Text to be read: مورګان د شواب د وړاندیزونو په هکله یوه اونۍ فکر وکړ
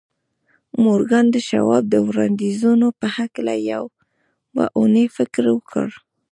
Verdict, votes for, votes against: rejected, 1, 2